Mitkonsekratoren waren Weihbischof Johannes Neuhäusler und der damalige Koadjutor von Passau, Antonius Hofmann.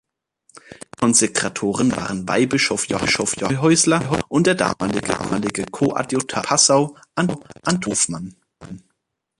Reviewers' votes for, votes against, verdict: 0, 3, rejected